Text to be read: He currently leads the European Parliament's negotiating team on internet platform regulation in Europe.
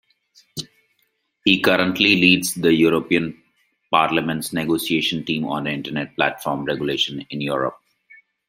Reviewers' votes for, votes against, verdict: 2, 1, accepted